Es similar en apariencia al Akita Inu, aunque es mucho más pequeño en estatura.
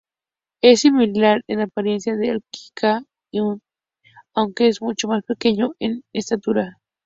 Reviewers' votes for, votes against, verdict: 2, 0, accepted